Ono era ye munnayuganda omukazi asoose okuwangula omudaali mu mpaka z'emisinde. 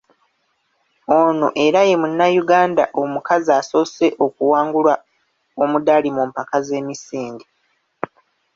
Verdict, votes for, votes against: rejected, 1, 2